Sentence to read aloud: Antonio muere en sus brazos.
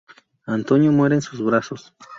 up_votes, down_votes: 2, 0